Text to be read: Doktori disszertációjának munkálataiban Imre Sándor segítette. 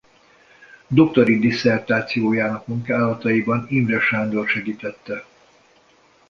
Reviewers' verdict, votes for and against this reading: accepted, 2, 0